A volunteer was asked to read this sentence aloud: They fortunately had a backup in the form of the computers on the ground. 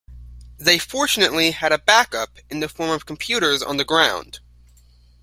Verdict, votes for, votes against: rejected, 1, 2